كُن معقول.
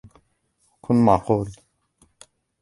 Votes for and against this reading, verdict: 2, 1, accepted